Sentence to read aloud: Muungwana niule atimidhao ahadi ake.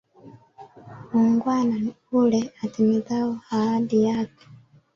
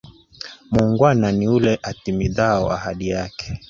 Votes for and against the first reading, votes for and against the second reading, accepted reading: 1, 2, 3, 1, second